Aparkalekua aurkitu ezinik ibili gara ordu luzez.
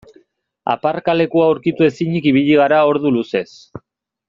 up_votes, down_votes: 2, 0